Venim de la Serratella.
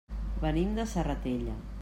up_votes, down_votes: 0, 2